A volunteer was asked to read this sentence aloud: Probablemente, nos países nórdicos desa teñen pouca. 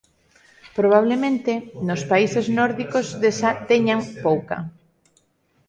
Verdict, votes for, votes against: rejected, 1, 2